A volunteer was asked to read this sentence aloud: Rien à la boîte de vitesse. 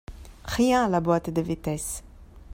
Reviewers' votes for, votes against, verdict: 1, 2, rejected